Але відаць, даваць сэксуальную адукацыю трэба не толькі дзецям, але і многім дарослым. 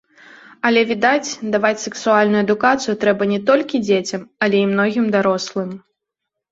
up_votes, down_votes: 2, 1